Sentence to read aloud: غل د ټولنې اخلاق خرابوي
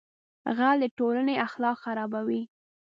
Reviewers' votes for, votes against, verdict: 2, 0, accepted